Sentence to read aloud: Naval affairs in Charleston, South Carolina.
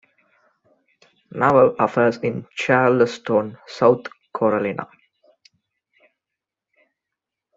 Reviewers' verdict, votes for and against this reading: rejected, 0, 2